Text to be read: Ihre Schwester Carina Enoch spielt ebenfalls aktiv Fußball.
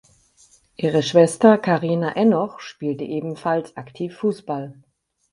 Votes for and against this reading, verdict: 6, 2, accepted